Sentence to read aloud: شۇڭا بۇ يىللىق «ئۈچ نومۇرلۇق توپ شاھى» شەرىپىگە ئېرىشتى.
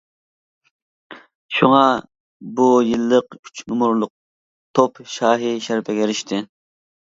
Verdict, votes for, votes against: accepted, 2, 0